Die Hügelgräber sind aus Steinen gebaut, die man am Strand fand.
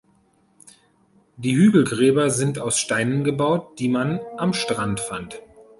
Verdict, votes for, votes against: accepted, 2, 0